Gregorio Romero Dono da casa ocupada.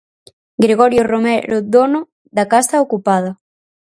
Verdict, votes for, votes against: rejected, 2, 2